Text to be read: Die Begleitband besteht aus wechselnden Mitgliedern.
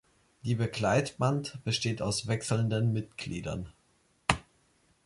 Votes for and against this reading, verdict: 0, 2, rejected